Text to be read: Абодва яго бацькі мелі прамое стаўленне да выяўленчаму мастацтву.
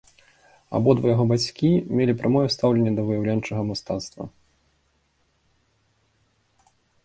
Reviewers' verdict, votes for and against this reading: accepted, 2, 0